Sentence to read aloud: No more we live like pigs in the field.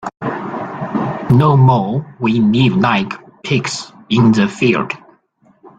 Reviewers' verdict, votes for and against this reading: rejected, 0, 3